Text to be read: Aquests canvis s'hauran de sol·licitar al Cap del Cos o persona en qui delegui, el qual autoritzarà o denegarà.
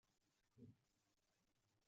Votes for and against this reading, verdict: 0, 2, rejected